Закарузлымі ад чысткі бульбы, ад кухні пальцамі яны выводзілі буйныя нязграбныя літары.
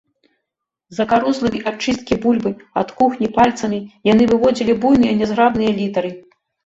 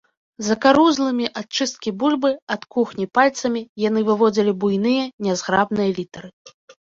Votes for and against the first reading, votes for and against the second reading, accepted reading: 0, 2, 2, 0, second